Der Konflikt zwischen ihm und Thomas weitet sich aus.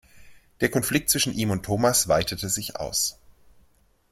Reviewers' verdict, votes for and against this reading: rejected, 0, 2